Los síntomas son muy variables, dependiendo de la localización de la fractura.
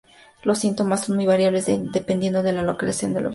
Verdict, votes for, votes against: rejected, 0, 2